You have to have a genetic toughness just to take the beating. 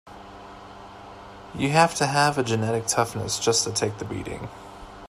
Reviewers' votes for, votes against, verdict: 2, 0, accepted